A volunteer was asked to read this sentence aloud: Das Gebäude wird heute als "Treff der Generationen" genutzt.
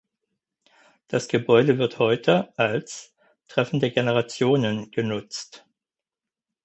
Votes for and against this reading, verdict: 2, 4, rejected